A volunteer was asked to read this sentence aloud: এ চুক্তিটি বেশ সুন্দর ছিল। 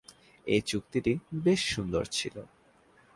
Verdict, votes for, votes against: accepted, 3, 1